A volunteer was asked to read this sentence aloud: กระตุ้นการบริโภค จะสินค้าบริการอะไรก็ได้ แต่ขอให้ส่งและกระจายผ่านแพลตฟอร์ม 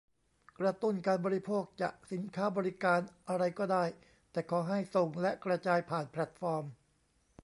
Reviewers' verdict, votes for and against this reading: accepted, 2, 0